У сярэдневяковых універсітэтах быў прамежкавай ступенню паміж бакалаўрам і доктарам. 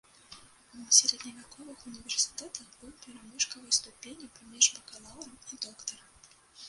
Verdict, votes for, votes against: rejected, 1, 2